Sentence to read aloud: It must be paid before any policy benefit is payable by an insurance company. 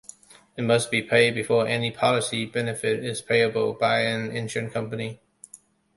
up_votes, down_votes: 1, 2